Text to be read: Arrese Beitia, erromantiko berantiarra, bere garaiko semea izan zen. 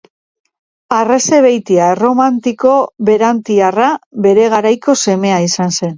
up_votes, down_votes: 2, 0